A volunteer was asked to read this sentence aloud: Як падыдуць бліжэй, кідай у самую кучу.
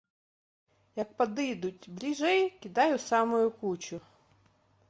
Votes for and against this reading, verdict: 1, 2, rejected